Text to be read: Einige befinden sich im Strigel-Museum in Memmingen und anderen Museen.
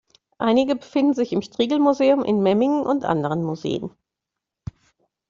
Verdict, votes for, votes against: accepted, 2, 0